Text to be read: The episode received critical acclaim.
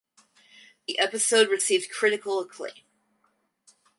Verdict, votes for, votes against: accepted, 4, 0